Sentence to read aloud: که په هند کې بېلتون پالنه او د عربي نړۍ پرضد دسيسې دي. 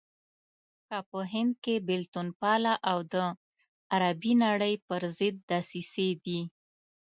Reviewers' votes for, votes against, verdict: 0, 2, rejected